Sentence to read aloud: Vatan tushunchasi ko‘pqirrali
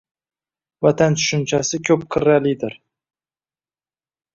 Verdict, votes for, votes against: rejected, 0, 2